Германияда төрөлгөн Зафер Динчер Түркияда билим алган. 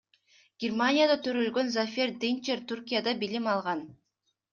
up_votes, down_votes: 2, 0